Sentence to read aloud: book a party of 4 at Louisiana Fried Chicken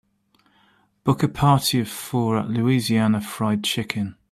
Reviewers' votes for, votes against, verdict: 0, 2, rejected